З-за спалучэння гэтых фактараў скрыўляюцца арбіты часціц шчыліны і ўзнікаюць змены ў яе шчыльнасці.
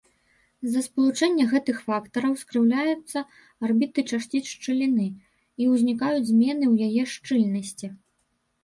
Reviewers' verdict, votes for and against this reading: accepted, 2, 1